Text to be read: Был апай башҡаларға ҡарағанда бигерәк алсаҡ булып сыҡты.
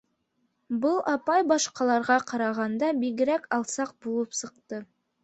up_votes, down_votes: 2, 0